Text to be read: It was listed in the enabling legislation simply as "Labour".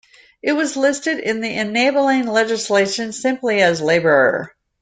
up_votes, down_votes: 2, 0